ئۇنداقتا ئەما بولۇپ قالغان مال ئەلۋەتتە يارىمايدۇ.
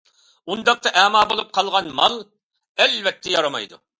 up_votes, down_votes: 2, 0